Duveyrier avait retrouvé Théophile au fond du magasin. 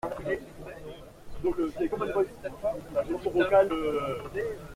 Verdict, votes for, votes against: rejected, 0, 2